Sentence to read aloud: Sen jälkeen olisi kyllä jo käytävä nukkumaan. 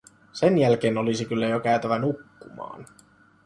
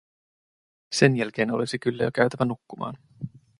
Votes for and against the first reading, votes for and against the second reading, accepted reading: 1, 2, 2, 0, second